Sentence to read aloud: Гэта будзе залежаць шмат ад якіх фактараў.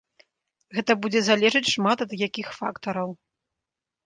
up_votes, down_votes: 2, 0